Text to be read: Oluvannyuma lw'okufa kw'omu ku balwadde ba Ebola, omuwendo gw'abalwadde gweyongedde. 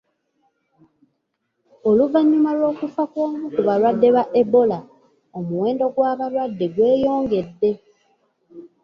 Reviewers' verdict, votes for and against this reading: accepted, 2, 0